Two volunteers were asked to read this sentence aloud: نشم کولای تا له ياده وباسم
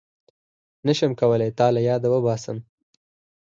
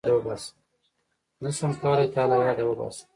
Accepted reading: first